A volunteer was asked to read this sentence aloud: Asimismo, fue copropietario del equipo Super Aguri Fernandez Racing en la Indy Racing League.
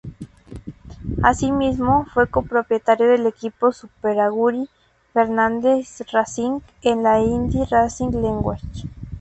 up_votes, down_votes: 2, 2